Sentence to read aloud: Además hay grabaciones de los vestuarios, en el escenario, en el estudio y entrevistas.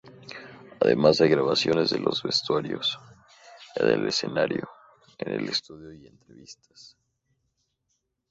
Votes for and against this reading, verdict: 2, 0, accepted